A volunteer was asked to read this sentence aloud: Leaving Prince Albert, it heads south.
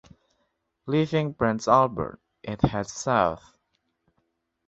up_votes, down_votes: 2, 1